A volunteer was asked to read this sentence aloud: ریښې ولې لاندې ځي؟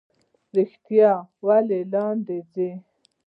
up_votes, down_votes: 0, 2